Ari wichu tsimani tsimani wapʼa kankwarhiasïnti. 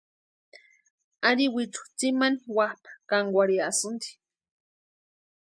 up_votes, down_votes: 0, 2